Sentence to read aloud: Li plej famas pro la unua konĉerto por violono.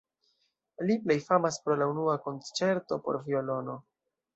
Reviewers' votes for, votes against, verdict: 2, 0, accepted